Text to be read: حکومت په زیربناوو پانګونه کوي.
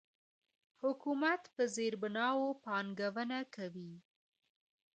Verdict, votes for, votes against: rejected, 0, 2